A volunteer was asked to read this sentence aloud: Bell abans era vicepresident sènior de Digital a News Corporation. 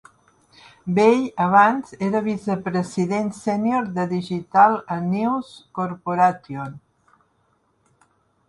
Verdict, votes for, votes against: rejected, 0, 2